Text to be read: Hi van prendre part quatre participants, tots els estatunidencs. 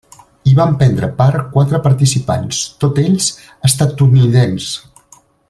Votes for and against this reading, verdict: 1, 2, rejected